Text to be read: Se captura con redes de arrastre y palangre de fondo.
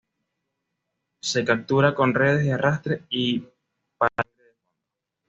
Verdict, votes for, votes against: rejected, 1, 2